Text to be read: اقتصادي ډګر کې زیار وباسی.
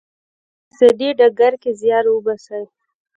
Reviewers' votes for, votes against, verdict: 1, 2, rejected